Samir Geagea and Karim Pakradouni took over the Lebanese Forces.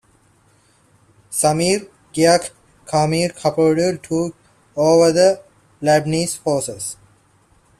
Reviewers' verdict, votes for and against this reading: accepted, 2, 1